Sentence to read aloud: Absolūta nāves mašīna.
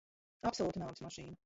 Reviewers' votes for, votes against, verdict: 0, 3, rejected